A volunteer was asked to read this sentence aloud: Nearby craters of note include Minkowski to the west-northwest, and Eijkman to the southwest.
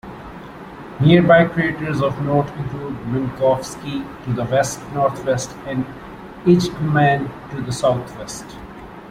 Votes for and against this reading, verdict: 2, 1, accepted